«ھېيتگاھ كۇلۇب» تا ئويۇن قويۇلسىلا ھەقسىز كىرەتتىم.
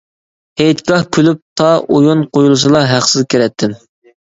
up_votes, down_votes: 2, 1